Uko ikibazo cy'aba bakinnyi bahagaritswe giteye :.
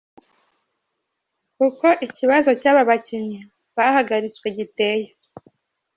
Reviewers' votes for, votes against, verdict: 2, 1, accepted